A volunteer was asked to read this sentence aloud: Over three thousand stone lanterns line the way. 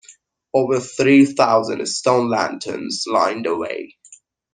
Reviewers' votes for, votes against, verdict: 2, 0, accepted